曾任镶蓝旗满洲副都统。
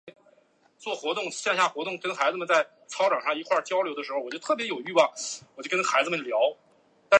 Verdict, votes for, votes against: rejected, 0, 5